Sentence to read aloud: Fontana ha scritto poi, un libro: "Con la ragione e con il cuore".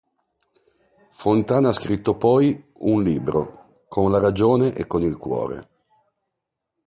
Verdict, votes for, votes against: accepted, 2, 0